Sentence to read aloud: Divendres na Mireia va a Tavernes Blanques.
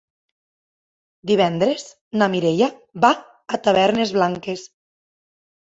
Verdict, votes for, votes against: accepted, 3, 0